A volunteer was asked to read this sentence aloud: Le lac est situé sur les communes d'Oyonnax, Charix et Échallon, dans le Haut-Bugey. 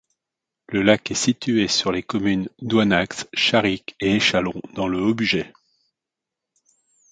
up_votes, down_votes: 2, 1